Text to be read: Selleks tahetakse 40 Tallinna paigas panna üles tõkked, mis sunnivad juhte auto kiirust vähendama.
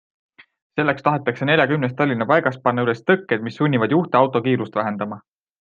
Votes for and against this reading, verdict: 0, 2, rejected